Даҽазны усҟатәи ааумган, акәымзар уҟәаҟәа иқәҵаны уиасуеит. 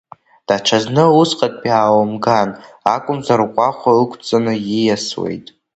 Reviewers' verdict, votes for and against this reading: rejected, 1, 2